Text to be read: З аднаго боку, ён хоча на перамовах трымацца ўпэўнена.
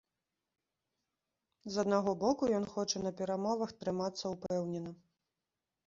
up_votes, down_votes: 2, 0